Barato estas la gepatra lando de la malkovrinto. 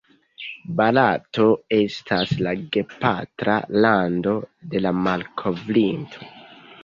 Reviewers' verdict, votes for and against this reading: rejected, 0, 2